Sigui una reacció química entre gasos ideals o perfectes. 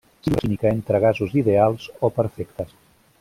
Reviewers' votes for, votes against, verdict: 0, 2, rejected